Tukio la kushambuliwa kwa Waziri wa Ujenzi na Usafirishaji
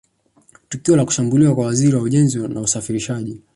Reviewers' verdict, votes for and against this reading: accepted, 4, 0